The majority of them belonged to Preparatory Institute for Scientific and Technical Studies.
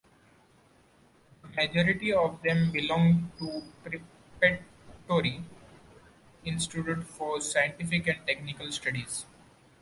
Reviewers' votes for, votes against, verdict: 0, 2, rejected